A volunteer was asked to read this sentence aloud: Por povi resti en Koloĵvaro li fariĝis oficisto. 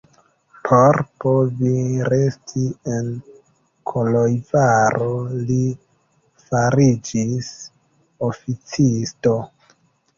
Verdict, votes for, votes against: rejected, 1, 2